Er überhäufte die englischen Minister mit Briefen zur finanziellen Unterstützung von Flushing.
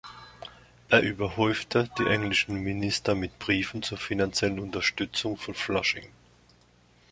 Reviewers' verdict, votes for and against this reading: accepted, 2, 0